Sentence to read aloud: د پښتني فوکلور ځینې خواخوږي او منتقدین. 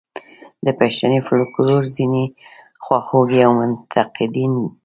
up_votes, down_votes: 0, 2